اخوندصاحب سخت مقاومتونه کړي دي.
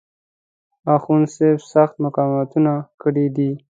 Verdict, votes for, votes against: accepted, 3, 0